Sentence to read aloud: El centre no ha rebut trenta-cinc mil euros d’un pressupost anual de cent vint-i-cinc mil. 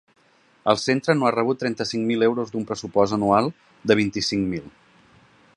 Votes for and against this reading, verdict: 1, 2, rejected